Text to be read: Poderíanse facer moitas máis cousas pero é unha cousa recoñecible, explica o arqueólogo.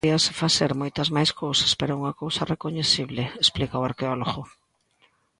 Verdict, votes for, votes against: rejected, 1, 2